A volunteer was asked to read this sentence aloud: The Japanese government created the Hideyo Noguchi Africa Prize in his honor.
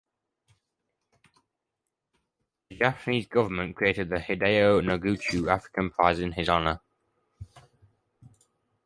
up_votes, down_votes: 0, 2